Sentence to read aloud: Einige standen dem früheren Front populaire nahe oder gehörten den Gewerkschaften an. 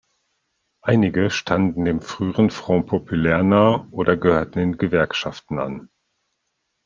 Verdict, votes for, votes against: accepted, 2, 0